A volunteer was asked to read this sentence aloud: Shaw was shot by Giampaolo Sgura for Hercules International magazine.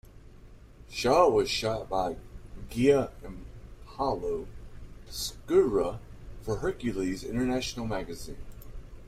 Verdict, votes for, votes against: rejected, 1, 2